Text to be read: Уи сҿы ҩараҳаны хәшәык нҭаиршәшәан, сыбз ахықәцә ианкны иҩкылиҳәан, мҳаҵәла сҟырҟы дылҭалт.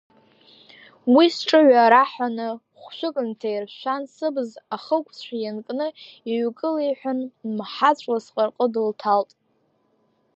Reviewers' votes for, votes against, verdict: 1, 2, rejected